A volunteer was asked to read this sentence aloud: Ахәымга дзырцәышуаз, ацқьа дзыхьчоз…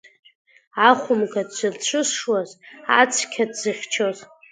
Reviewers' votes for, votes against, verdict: 2, 0, accepted